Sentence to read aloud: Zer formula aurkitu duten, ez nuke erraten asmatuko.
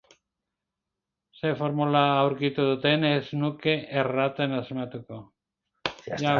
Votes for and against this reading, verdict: 0, 2, rejected